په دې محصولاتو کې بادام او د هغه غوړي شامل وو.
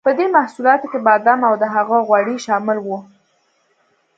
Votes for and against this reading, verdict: 2, 0, accepted